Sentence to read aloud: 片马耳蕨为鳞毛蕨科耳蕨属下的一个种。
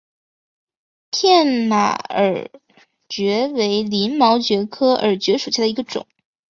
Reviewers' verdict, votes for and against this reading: accepted, 4, 1